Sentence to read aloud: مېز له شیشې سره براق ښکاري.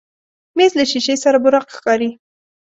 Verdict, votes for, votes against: accepted, 2, 0